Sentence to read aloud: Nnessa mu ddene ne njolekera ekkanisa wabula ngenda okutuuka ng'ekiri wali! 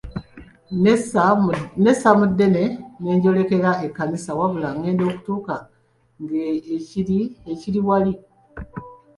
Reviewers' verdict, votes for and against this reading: rejected, 0, 2